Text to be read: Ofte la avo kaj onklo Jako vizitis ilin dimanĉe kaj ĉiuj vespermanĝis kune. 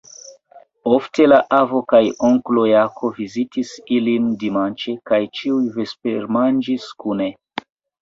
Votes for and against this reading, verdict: 0, 2, rejected